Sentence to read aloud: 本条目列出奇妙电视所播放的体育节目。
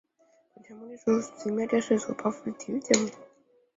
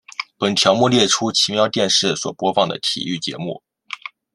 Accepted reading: second